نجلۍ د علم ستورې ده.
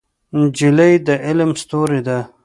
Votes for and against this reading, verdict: 1, 2, rejected